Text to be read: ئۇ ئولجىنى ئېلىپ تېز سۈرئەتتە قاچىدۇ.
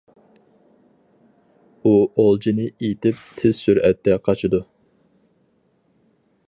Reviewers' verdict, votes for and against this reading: rejected, 0, 4